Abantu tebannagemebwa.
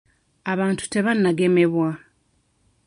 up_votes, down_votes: 2, 0